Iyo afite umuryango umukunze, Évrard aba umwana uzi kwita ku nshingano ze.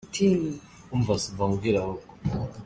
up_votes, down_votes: 0, 2